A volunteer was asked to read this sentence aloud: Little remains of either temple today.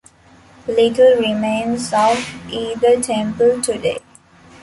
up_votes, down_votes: 2, 0